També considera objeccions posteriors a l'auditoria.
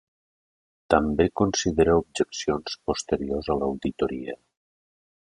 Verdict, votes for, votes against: accepted, 2, 0